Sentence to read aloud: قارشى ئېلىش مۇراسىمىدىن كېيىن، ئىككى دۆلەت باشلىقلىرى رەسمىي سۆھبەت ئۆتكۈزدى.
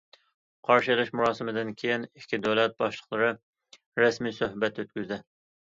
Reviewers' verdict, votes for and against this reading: accepted, 2, 0